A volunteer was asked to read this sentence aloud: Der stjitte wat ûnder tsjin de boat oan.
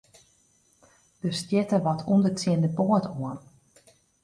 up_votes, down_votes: 2, 0